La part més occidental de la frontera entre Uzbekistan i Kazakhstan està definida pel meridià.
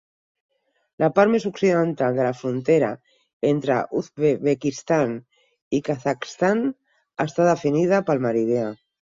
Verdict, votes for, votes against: rejected, 2, 6